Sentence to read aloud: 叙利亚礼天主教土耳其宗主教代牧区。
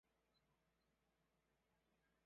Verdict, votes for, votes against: rejected, 1, 5